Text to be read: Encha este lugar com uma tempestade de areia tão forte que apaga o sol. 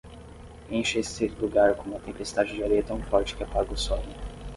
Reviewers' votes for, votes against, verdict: 5, 5, rejected